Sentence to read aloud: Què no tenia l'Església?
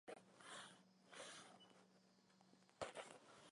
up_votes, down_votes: 0, 2